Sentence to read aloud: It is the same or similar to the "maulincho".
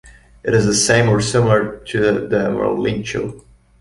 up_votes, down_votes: 1, 2